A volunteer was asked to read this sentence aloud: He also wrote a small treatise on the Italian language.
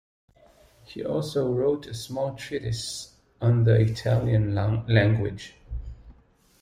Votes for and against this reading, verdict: 0, 2, rejected